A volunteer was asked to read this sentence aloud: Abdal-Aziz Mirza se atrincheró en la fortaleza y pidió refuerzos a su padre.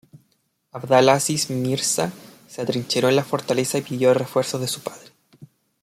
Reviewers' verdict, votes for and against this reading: rejected, 0, 2